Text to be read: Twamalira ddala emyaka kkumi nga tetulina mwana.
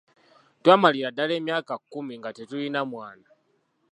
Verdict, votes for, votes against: accepted, 2, 0